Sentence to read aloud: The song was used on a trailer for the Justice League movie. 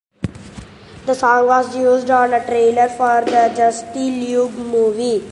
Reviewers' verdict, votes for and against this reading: rejected, 1, 2